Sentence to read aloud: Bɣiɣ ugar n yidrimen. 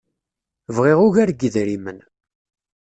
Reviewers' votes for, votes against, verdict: 2, 0, accepted